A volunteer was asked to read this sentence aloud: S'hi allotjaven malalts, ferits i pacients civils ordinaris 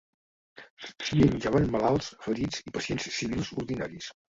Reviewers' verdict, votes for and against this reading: rejected, 1, 2